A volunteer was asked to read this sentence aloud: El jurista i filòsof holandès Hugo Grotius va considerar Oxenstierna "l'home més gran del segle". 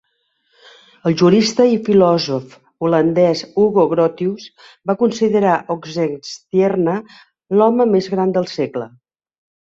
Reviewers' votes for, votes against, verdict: 2, 0, accepted